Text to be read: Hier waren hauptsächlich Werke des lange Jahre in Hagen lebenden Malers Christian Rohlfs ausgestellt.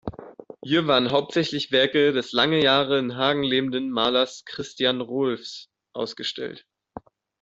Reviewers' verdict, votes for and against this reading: accepted, 2, 0